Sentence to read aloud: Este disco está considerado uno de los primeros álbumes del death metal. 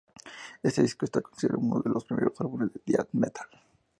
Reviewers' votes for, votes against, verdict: 2, 0, accepted